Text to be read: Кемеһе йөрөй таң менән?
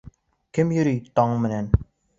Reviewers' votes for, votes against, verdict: 1, 2, rejected